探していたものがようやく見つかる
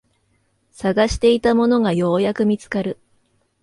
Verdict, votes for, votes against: accepted, 2, 0